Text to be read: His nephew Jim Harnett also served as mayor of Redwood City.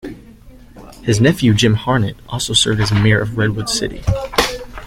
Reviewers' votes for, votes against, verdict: 2, 1, accepted